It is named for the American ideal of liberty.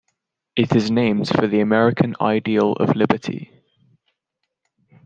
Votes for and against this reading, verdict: 2, 0, accepted